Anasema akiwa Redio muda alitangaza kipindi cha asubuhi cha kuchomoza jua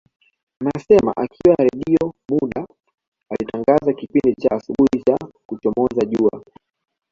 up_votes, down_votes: 0, 2